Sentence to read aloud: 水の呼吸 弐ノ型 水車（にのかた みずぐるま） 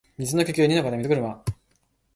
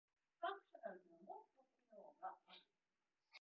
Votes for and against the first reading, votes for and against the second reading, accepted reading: 2, 1, 0, 2, first